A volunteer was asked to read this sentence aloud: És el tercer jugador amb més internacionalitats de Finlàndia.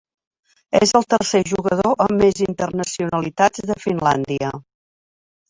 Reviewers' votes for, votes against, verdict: 4, 0, accepted